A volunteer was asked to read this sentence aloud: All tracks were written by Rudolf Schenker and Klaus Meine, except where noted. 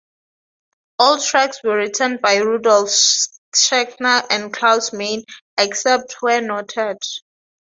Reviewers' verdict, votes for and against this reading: rejected, 0, 2